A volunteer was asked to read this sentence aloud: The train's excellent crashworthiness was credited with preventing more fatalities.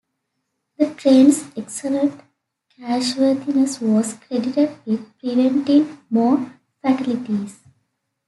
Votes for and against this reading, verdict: 2, 1, accepted